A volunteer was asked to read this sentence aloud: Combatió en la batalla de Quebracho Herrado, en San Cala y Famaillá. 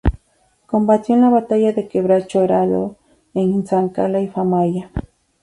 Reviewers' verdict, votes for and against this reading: accepted, 4, 0